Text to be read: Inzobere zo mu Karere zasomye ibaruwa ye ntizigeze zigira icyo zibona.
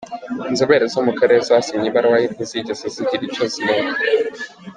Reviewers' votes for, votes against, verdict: 2, 0, accepted